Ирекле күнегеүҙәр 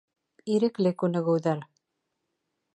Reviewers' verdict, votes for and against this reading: accepted, 3, 0